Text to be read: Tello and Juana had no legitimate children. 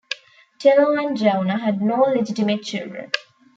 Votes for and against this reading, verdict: 0, 2, rejected